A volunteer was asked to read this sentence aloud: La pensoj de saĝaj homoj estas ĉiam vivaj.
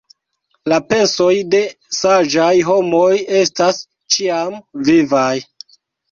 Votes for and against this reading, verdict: 1, 2, rejected